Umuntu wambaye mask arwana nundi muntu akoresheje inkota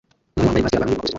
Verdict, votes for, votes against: rejected, 0, 2